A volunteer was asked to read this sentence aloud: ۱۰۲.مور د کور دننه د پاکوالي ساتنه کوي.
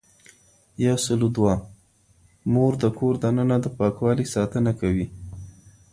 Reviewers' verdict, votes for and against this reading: rejected, 0, 2